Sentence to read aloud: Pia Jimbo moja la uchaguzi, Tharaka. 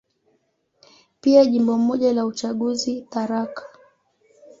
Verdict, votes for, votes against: accepted, 2, 0